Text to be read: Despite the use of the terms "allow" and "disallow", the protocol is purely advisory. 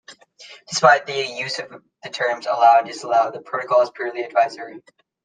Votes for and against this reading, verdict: 2, 3, rejected